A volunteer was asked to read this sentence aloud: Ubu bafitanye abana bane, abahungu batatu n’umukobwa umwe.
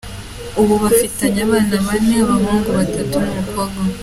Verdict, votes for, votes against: accepted, 2, 0